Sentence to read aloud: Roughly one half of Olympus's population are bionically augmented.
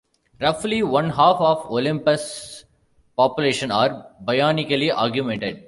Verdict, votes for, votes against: rejected, 0, 2